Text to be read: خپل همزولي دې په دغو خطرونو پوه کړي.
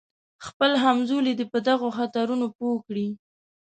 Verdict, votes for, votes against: accepted, 2, 0